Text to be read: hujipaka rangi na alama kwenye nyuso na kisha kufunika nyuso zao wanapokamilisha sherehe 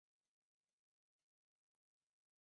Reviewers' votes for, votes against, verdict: 2, 25, rejected